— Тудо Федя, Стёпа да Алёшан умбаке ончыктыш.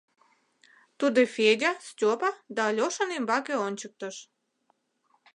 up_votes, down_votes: 1, 2